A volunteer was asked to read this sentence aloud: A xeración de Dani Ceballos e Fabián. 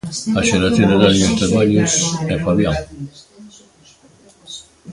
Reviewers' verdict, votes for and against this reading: rejected, 0, 2